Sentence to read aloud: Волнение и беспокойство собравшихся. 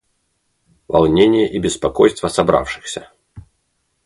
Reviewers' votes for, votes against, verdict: 2, 0, accepted